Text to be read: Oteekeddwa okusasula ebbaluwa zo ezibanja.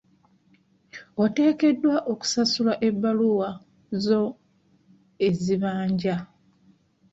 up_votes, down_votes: 2, 0